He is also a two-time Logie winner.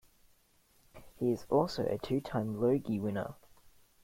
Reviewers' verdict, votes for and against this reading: accepted, 2, 1